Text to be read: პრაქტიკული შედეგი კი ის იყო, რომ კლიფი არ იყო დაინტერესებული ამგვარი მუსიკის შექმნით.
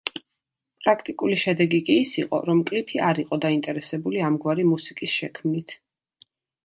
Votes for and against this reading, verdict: 2, 0, accepted